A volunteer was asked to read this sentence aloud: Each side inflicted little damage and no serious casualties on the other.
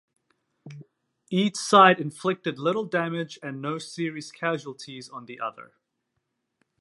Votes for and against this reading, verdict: 2, 0, accepted